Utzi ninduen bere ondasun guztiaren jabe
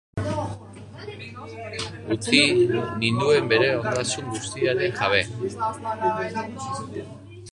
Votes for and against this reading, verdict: 2, 3, rejected